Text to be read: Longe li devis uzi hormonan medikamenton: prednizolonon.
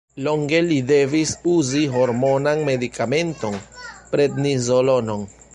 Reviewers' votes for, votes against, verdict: 1, 2, rejected